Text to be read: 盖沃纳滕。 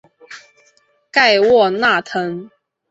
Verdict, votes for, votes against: accepted, 3, 0